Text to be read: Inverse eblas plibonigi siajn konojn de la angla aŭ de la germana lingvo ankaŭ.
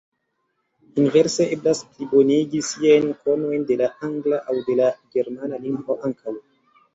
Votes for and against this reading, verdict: 2, 0, accepted